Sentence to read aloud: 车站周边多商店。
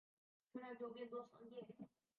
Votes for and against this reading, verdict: 1, 2, rejected